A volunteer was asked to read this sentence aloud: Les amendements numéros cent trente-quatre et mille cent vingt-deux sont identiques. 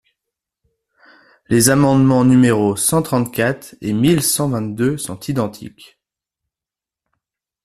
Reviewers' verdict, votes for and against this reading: accepted, 2, 0